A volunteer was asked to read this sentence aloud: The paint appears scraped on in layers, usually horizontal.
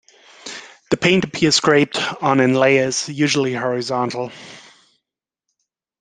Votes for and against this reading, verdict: 2, 0, accepted